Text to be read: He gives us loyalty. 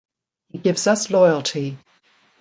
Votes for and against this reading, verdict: 2, 0, accepted